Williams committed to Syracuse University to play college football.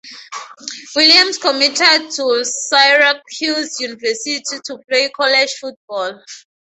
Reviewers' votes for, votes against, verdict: 2, 2, rejected